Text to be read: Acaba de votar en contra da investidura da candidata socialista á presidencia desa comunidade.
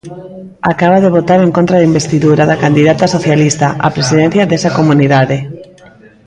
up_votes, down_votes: 1, 2